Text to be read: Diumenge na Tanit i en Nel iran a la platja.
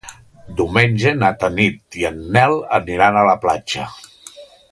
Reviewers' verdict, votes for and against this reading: rejected, 1, 2